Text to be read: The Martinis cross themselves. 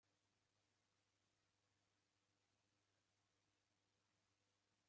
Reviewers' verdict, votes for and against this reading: rejected, 0, 2